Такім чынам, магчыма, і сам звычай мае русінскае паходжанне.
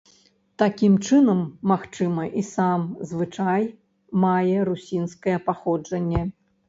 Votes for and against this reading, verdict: 1, 2, rejected